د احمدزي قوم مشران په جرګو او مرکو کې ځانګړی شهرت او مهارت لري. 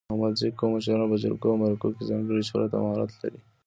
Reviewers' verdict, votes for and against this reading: rejected, 1, 2